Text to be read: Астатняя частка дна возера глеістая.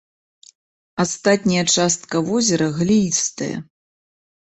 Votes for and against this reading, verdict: 1, 2, rejected